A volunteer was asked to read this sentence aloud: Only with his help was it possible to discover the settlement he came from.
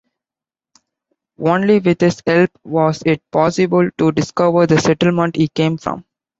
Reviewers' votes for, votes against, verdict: 2, 0, accepted